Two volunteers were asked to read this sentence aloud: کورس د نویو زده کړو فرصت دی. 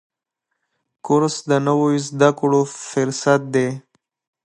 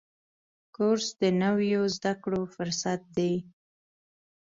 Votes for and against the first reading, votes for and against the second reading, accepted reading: 1, 2, 2, 0, second